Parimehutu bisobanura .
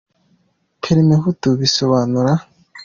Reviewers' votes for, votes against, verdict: 2, 0, accepted